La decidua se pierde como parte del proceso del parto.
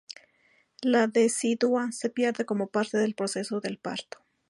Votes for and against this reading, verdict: 0, 2, rejected